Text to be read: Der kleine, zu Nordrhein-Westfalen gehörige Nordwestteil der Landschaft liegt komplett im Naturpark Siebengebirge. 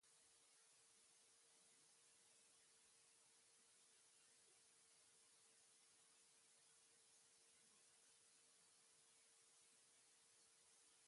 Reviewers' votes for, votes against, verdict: 0, 2, rejected